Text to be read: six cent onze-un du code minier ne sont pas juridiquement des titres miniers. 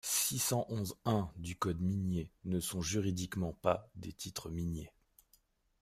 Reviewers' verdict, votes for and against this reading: rejected, 0, 2